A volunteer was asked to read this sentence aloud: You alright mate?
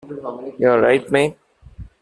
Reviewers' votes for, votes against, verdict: 2, 1, accepted